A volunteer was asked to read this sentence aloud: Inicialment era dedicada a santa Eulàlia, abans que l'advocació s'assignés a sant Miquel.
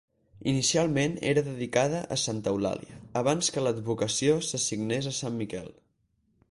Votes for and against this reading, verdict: 4, 0, accepted